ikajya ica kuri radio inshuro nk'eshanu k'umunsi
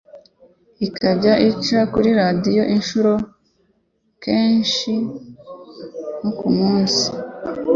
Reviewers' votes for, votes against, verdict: 0, 2, rejected